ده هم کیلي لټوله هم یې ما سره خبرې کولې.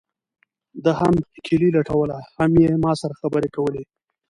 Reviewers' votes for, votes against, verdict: 1, 2, rejected